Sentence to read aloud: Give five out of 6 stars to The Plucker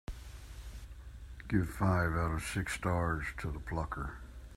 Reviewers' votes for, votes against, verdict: 0, 2, rejected